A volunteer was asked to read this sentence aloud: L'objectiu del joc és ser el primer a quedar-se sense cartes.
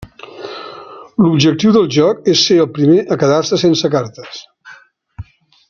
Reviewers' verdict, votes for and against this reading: accepted, 3, 0